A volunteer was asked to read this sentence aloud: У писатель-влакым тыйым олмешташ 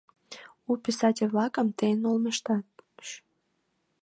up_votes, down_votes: 1, 2